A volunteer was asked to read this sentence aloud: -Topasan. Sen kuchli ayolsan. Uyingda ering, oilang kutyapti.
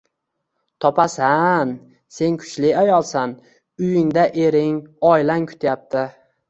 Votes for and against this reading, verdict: 2, 0, accepted